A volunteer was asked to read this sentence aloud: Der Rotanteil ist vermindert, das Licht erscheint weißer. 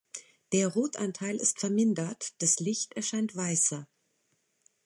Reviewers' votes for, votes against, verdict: 2, 0, accepted